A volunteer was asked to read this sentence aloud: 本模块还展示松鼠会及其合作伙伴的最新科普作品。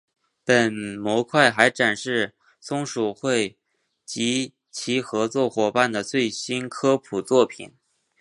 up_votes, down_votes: 2, 0